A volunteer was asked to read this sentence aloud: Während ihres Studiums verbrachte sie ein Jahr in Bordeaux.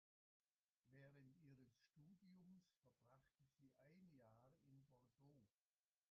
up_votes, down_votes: 0, 2